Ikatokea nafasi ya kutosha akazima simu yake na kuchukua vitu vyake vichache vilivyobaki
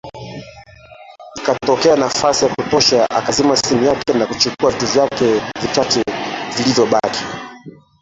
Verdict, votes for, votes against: rejected, 0, 2